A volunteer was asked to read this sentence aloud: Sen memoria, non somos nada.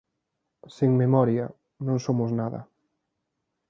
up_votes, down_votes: 2, 0